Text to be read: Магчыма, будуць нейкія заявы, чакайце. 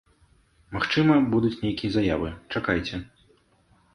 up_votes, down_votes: 2, 0